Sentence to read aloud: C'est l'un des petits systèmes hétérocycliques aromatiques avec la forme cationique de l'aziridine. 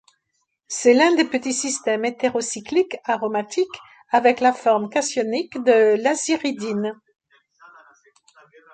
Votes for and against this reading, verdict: 1, 2, rejected